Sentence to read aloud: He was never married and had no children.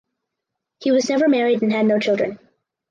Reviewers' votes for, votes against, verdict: 4, 2, accepted